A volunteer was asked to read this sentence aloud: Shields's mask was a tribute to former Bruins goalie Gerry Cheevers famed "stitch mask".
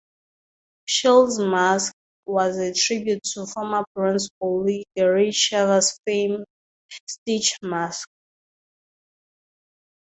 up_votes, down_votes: 0, 2